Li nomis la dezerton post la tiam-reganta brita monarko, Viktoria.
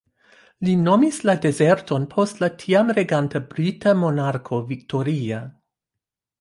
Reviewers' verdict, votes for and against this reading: rejected, 1, 2